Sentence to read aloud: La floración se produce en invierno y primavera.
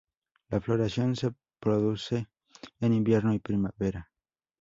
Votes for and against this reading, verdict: 2, 0, accepted